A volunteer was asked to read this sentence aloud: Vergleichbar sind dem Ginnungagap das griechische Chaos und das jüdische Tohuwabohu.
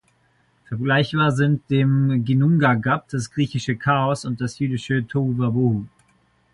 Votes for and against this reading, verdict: 0, 2, rejected